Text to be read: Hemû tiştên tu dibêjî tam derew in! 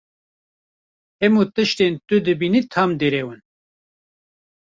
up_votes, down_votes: 1, 2